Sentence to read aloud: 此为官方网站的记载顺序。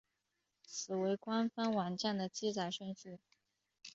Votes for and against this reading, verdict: 2, 0, accepted